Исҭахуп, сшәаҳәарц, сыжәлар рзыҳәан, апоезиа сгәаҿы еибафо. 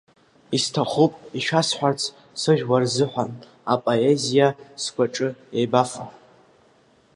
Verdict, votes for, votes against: accepted, 2, 1